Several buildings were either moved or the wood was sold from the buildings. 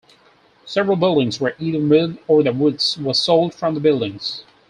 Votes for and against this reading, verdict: 4, 2, accepted